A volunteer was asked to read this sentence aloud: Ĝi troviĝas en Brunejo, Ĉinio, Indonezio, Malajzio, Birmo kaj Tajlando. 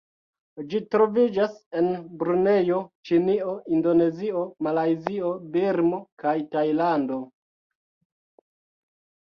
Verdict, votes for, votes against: rejected, 0, 2